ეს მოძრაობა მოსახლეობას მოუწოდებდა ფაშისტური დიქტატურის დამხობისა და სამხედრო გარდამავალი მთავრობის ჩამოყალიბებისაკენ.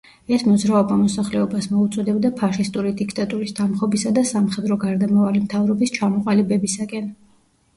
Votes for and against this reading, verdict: 1, 2, rejected